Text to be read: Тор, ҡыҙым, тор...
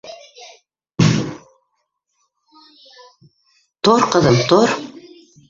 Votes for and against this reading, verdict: 1, 2, rejected